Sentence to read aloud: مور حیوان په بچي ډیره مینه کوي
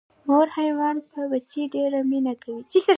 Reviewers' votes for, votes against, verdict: 1, 2, rejected